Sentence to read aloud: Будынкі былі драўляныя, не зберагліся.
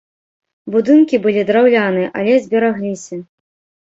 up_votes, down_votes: 1, 3